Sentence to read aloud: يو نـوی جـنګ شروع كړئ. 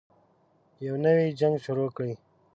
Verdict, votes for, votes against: rejected, 1, 2